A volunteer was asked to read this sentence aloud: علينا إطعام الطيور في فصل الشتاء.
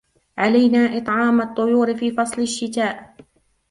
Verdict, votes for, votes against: rejected, 1, 2